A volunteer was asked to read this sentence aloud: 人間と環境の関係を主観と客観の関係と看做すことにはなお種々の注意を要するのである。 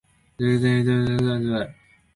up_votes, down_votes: 0, 3